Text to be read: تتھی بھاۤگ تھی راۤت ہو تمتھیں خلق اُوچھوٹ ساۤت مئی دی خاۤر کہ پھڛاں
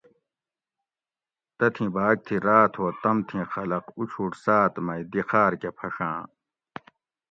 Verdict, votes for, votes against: accepted, 2, 0